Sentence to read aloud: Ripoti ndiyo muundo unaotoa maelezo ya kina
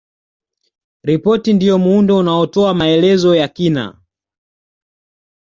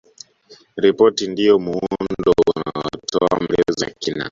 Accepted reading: first